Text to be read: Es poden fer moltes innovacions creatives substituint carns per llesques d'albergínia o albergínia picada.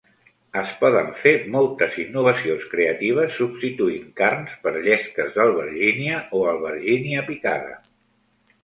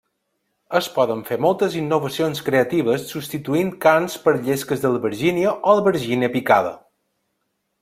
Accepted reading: first